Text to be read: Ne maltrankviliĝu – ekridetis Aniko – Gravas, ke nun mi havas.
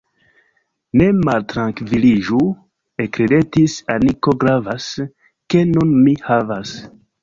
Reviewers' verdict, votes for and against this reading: rejected, 1, 2